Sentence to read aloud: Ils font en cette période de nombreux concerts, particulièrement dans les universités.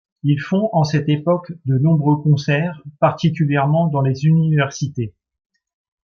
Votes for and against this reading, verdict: 0, 2, rejected